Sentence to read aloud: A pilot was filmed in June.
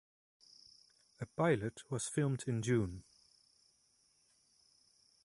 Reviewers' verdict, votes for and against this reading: accepted, 2, 1